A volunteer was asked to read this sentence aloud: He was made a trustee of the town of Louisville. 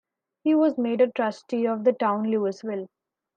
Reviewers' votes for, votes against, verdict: 0, 2, rejected